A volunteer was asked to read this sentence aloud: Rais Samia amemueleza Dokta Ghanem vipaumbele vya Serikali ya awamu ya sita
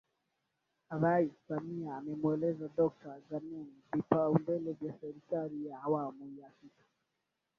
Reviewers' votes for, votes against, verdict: 0, 2, rejected